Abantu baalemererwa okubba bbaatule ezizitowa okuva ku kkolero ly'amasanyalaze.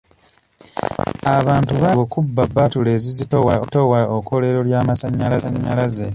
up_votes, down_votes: 0, 2